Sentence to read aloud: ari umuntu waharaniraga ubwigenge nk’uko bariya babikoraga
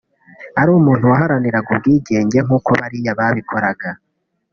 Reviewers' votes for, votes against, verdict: 2, 0, accepted